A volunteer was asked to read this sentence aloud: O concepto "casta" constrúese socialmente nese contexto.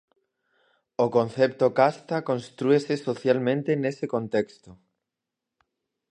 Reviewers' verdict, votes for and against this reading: rejected, 2, 2